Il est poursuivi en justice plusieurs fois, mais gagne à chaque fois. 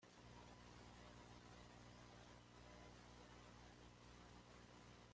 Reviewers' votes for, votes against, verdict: 1, 2, rejected